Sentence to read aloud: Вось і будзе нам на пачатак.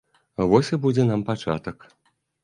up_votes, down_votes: 1, 2